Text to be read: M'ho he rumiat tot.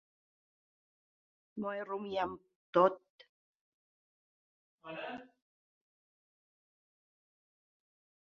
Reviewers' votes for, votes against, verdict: 0, 4, rejected